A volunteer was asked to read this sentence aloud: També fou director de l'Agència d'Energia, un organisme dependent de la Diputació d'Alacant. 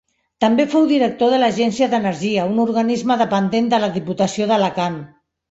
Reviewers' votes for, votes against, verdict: 2, 0, accepted